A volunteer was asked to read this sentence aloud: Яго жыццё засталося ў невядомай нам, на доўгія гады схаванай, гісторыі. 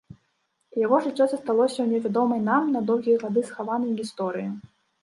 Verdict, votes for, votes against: rejected, 1, 2